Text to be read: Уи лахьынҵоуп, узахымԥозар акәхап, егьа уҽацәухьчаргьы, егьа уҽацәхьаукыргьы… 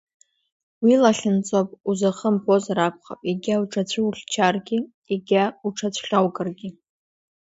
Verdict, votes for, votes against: accepted, 2, 0